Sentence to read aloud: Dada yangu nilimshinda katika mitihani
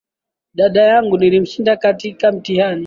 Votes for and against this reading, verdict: 9, 2, accepted